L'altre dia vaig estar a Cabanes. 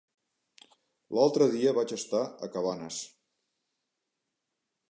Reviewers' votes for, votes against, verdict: 3, 0, accepted